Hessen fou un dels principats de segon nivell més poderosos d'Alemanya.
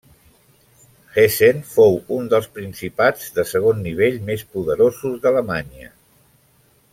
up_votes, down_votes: 0, 2